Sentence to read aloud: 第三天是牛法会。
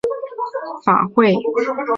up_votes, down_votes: 0, 2